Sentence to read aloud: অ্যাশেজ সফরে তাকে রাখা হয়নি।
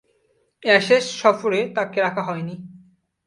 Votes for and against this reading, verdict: 5, 4, accepted